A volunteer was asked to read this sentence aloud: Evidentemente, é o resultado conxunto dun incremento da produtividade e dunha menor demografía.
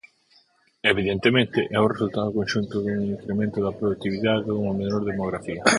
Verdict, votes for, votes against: accepted, 4, 2